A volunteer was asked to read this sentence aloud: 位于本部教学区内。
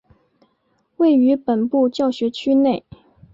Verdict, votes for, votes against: accepted, 4, 1